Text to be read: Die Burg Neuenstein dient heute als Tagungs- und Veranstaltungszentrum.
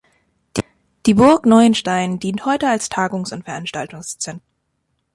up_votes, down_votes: 0, 2